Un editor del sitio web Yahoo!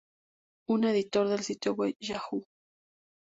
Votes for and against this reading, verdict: 2, 0, accepted